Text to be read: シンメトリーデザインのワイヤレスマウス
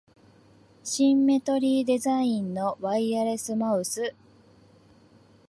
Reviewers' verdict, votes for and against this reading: rejected, 0, 2